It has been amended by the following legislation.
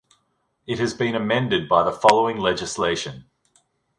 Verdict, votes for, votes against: accepted, 2, 0